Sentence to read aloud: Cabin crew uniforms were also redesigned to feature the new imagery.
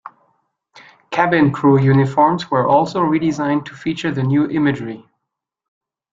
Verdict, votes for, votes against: accepted, 3, 0